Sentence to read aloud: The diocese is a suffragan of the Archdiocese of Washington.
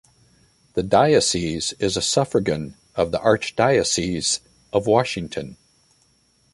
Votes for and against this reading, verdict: 2, 0, accepted